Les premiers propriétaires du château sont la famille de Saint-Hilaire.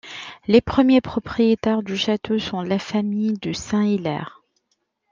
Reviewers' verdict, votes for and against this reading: rejected, 0, 2